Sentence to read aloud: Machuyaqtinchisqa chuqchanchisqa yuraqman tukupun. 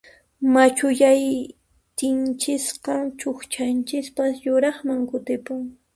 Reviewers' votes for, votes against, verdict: 0, 2, rejected